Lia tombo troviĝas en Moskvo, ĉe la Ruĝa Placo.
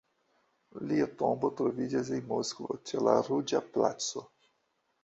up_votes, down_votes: 1, 2